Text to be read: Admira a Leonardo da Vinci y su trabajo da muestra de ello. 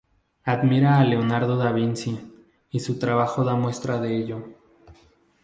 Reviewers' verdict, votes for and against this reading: accepted, 2, 0